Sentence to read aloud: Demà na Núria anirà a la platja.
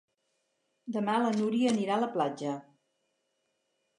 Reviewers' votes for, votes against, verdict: 0, 4, rejected